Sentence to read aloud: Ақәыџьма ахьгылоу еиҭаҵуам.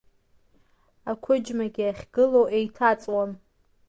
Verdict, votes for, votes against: rejected, 1, 2